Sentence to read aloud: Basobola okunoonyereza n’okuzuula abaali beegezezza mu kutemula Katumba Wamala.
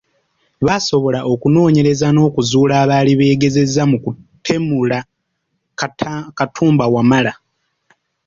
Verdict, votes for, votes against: rejected, 0, 2